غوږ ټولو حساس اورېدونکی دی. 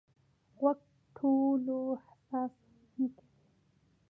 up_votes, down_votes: 0, 2